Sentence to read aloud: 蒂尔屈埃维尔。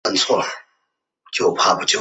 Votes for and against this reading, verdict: 0, 2, rejected